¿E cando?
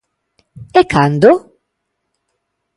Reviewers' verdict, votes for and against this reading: accepted, 2, 1